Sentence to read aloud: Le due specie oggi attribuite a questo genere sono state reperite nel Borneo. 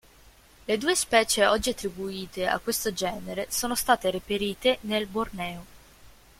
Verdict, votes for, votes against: rejected, 0, 2